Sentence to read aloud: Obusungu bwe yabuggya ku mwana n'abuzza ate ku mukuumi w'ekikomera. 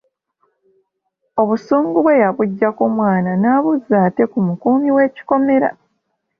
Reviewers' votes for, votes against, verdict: 2, 0, accepted